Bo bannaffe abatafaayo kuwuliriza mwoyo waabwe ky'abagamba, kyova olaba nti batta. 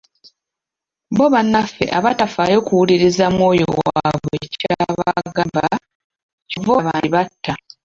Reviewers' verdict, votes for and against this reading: rejected, 0, 2